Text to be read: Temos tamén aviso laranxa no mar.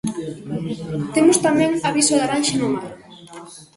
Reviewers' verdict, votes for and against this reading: accepted, 2, 1